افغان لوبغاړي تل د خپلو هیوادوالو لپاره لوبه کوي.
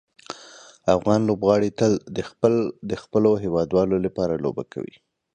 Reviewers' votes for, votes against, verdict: 2, 0, accepted